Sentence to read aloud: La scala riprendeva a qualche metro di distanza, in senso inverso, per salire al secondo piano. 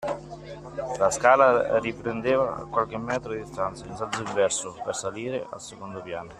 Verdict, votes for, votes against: accepted, 2, 0